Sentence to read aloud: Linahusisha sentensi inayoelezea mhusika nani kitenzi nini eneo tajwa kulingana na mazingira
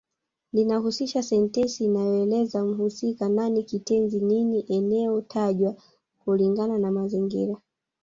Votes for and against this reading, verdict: 1, 2, rejected